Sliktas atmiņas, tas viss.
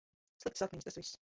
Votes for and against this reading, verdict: 0, 2, rejected